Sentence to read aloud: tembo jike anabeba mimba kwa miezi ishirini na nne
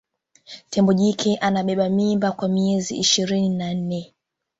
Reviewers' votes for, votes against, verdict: 3, 0, accepted